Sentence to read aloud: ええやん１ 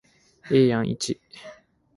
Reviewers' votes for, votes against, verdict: 0, 2, rejected